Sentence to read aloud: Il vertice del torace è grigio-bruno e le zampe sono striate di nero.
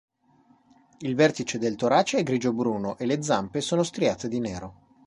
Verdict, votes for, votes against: accepted, 2, 0